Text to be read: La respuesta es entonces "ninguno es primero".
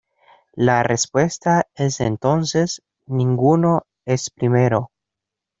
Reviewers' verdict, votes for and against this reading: accepted, 2, 0